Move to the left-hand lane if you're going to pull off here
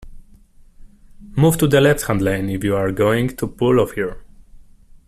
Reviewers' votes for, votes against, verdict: 2, 0, accepted